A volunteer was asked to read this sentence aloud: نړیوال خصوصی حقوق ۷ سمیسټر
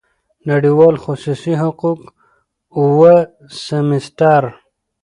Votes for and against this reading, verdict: 0, 2, rejected